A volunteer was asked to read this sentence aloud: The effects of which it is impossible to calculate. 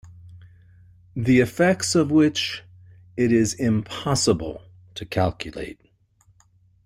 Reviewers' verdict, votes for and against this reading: accepted, 2, 0